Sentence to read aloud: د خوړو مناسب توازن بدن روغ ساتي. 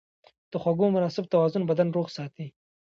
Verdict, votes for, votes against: accepted, 2, 0